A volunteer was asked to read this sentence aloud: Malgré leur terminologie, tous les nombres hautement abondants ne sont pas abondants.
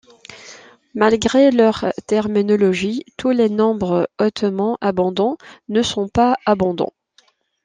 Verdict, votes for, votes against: accepted, 2, 0